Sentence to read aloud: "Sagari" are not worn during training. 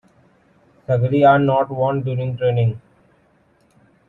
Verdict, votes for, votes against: accepted, 2, 1